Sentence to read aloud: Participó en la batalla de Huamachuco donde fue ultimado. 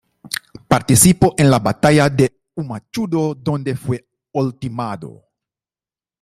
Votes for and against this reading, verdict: 0, 2, rejected